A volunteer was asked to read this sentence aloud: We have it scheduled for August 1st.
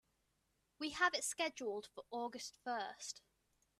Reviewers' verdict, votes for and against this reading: rejected, 0, 2